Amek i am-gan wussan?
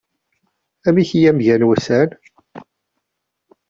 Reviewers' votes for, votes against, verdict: 2, 0, accepted